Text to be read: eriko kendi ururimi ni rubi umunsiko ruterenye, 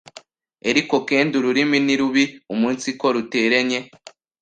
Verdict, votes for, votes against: rejected, 1, 2